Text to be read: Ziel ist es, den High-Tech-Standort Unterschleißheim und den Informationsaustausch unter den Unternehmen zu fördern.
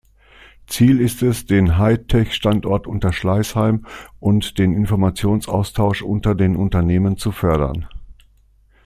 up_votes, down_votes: 2, 0